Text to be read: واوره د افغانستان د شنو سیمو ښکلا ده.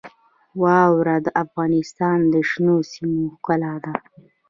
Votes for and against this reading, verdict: 2, 0, accepted